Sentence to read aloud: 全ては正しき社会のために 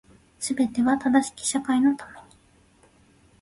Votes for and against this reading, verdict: 2, 0, accepted